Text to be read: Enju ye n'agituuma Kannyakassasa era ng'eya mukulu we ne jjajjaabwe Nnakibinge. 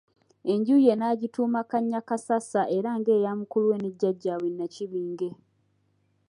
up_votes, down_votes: 2, 0